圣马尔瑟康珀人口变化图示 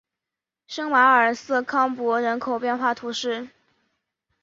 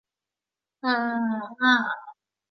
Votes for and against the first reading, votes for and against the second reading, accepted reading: 5, 1, 1, 3, first